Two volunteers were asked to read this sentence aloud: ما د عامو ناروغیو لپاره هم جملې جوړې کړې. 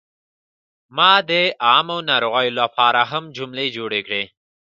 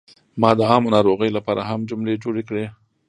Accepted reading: first